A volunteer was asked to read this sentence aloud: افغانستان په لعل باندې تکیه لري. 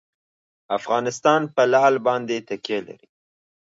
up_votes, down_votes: 2, 0